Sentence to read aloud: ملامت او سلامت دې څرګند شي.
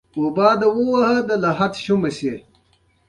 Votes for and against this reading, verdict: 0, 2, rejected